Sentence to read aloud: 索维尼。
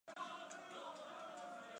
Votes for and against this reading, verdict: 0, 2, rejected